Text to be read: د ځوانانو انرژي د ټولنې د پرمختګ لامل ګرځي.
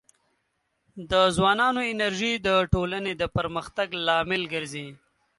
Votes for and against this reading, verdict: 2, 0, accepted